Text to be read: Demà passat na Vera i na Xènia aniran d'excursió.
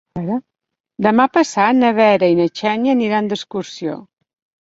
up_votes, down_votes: 1, 2